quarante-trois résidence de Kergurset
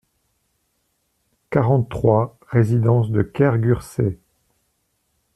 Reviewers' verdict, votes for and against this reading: accepted, 2, 0